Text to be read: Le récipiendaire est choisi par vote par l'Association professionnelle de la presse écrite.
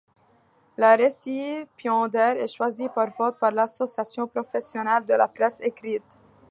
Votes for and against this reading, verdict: 0, 2, rejected